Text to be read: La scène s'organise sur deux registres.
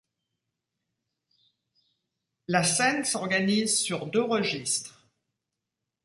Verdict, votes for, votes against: accepted, 2, 0